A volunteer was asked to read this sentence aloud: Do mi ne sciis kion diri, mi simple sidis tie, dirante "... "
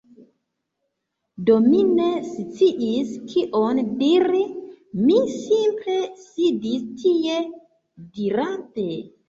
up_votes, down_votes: 1, 2